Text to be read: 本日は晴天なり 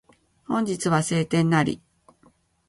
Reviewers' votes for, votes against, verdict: 2, 0, accepted